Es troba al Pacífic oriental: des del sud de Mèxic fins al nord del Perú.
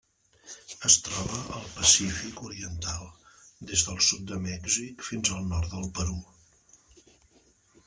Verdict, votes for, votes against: rejected, 1, 2